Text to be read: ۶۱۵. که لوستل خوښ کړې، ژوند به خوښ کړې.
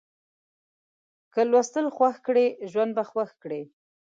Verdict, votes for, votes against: rejected, 0, 2